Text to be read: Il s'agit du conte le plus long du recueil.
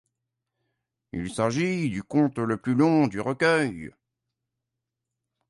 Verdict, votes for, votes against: accepted, 2, 0